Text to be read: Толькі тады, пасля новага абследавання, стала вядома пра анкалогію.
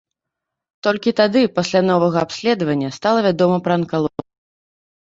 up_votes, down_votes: 0, 2